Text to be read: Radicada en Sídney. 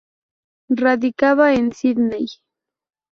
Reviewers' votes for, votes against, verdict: 0, 2, rejected